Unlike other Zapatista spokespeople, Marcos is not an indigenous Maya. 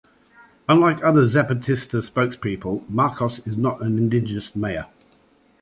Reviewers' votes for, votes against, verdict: 2, 0, accepted